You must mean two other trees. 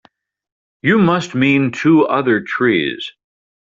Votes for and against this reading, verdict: 3, 0, accepted